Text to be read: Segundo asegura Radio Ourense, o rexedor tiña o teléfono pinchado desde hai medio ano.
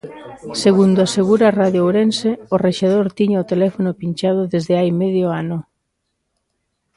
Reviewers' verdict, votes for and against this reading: accepted, 2, 0